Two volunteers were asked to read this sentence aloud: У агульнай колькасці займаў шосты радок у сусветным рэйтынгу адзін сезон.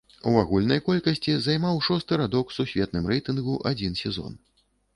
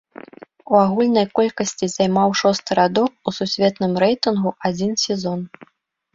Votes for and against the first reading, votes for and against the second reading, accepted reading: 1, 2, 3, 0, second